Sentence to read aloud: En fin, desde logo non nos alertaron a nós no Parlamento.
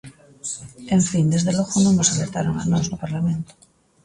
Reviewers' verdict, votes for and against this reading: accepted, 2, 0